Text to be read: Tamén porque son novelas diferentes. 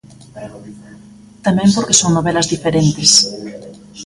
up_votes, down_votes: 2, 1